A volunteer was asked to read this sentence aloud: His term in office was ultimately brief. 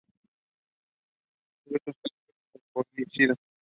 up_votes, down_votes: 0, 2